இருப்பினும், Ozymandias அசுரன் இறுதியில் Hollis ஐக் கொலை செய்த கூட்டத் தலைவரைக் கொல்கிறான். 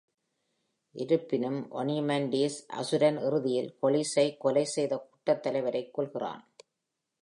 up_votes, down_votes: 1, 2